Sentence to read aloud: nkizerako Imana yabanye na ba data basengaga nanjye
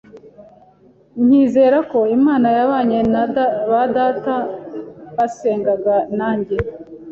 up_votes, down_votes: 1, 2